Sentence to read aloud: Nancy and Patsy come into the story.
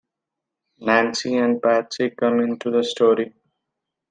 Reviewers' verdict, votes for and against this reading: accepted, 2, 0